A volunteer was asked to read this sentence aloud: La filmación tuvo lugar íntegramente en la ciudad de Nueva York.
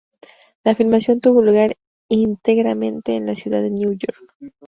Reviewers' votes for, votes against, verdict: 2, 0, accepted